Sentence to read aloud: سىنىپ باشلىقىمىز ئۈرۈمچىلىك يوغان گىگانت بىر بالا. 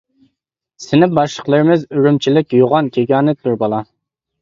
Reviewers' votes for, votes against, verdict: 0, 2, rejected